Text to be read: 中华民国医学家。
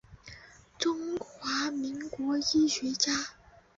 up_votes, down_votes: 1, 2